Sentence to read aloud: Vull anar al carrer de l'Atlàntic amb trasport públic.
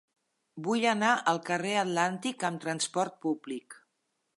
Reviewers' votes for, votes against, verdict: 1, 2, rejected